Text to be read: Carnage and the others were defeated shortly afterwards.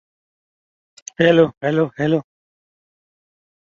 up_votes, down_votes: 0, 2